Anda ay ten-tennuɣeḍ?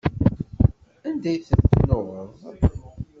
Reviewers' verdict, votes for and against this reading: rejected, 1, 2